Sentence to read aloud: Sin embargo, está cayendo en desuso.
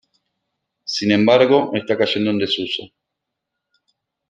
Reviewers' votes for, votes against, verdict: 2, 1, accepted